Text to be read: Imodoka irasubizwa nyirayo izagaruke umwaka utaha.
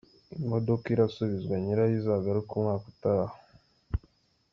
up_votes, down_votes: 2, 0